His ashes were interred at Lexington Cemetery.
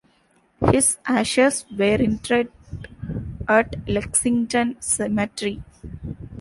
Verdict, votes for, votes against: rejected, 0, 2